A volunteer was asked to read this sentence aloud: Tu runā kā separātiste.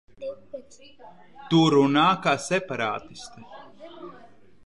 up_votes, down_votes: 0, 2